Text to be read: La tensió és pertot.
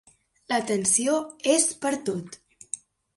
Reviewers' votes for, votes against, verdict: 3, 0, accepted